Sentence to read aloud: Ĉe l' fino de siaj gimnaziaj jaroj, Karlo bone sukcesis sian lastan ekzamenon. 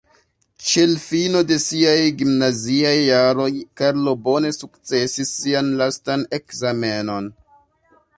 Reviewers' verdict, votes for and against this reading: accepted, 2, 0